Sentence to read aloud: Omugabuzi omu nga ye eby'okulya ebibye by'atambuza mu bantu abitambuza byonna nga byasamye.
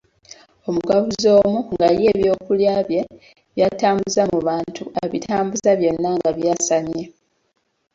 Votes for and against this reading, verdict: 1, 2, rejected